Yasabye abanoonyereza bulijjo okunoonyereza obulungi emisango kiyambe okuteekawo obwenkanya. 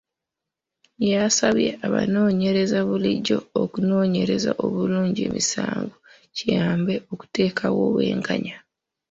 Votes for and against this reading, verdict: 1, 2, rejected